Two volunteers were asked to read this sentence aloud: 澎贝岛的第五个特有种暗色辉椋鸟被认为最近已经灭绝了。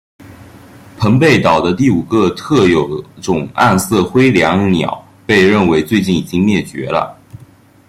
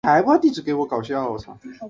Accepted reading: first